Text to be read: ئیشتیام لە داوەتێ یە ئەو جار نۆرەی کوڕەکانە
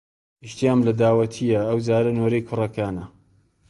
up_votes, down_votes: 1, 2